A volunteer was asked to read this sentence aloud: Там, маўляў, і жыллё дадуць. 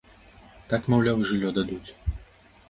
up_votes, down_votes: 0, 2